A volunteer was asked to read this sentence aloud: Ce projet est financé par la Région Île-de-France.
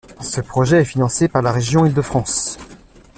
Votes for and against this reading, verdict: 2, 0, accepted